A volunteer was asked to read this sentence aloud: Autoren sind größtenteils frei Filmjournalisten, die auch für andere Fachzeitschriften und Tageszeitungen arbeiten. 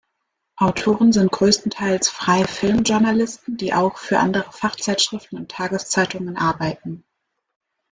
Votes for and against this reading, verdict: 1, 2, rejected